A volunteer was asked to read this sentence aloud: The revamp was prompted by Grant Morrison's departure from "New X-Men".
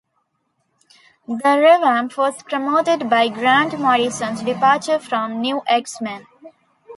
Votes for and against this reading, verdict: 2, 3, rejected